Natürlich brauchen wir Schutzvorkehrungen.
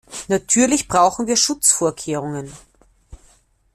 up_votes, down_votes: 2, 0